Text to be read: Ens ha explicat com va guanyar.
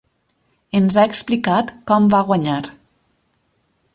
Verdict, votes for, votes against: accepted, 6, 0